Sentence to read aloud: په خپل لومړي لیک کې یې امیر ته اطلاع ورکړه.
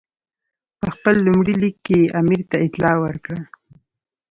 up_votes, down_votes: 2, 0